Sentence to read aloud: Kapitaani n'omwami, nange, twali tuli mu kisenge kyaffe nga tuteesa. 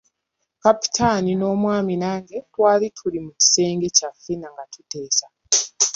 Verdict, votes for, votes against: rejected, 0, 2